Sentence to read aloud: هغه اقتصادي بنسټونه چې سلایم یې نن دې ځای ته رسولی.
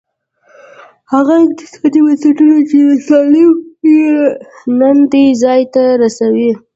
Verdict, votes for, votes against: rejected, 0, 2